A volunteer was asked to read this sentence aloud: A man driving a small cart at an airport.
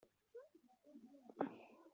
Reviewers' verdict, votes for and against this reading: rejected, 0, 3